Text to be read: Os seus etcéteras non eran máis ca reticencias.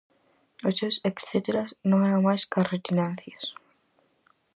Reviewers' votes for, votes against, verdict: 0, 4, rejected